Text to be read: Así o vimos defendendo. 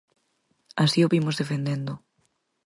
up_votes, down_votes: 4, 0